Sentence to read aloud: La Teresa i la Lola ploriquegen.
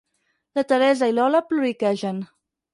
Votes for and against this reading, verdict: 2, 4, rejected